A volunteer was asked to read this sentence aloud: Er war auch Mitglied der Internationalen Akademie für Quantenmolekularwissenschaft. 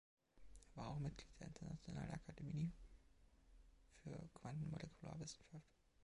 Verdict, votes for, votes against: rejected, 0, 2